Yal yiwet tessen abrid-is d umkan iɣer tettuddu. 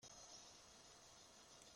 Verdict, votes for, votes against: rejected, 0, 2